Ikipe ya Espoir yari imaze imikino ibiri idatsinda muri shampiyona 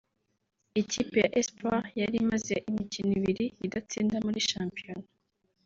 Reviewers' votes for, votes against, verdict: 4, 0, accepted